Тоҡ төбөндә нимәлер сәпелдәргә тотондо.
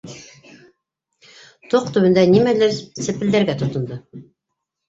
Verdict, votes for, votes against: rejected, 0, 2